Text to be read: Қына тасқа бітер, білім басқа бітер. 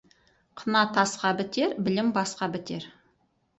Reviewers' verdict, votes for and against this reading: rejected, 0, 4